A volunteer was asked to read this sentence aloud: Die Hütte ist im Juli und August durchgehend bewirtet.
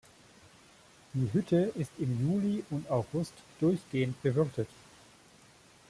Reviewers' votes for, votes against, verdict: 2, 0, accepted